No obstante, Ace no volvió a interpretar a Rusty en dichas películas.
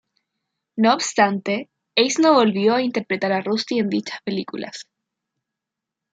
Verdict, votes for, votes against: rejected, 1, 2